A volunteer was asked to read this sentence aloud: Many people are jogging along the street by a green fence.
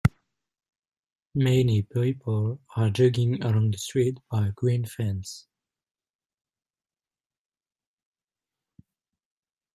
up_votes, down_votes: 0, 2